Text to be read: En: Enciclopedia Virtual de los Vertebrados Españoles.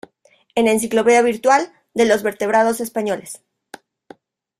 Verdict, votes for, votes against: rejected, 1, 2